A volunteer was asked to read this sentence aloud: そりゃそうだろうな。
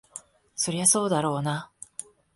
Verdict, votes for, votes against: accepted, 2, 0